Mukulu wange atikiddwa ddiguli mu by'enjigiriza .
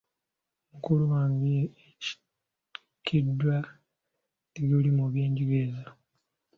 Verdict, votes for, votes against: accepted, 2, 1